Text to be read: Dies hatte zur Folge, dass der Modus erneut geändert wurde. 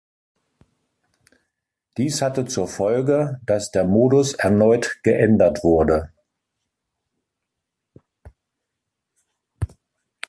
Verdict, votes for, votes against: accepted, 2, 0